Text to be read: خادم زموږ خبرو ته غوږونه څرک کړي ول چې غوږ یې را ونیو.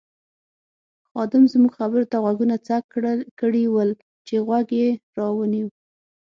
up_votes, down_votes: 3, 6